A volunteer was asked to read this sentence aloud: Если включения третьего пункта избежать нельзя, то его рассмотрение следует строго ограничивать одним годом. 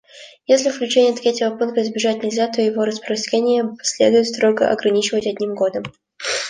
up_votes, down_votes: 1, 2